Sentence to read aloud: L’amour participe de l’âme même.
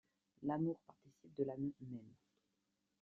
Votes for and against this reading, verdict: 1, 2, rejected